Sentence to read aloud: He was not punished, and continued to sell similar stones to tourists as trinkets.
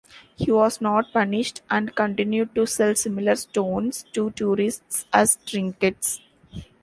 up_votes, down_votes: 2, 1